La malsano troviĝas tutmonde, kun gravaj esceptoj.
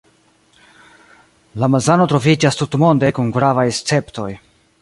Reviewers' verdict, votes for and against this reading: rejected, 0, 2